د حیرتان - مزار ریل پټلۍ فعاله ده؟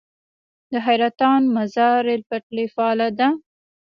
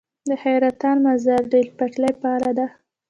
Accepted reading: second